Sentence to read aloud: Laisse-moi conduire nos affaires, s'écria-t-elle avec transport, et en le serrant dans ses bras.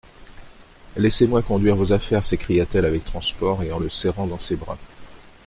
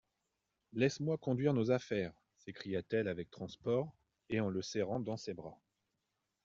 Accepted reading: second